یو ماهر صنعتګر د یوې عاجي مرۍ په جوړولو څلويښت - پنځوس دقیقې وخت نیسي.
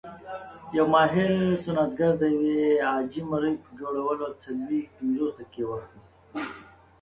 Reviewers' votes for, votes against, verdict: 2, 0, accepted